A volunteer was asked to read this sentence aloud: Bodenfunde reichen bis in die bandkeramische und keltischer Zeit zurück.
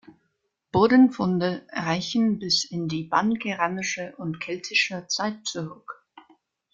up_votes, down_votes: 1, 2